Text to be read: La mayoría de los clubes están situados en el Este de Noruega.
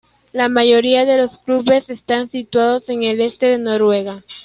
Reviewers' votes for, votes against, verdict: 1, 2, rejected